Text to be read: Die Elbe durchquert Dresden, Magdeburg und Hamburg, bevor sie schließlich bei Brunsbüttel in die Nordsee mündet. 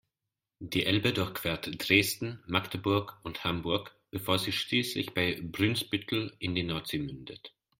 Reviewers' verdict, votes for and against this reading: rejected, 0, 2